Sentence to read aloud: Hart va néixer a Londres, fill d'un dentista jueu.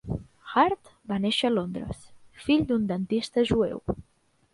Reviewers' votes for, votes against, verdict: 3, 0, accepted